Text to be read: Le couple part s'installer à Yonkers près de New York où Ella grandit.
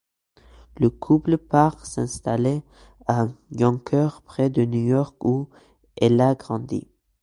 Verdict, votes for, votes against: accepted, 2, 0